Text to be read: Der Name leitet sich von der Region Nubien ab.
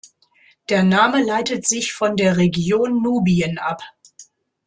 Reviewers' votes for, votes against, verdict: 2, 0, accepted